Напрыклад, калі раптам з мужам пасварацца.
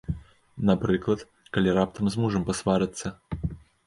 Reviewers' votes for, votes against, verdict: 2, 0, accepted